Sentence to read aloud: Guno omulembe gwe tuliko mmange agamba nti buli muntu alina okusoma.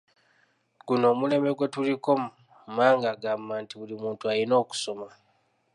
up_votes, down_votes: 3, 0